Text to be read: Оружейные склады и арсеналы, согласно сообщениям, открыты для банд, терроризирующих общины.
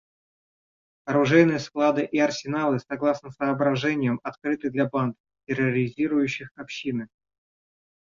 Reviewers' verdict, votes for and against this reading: rejected, 0, 2